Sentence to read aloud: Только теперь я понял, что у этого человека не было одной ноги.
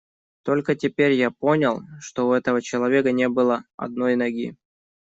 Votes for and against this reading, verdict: 2, 0, accepted